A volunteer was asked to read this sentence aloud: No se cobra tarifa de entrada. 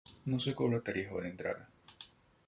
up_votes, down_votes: 2, 0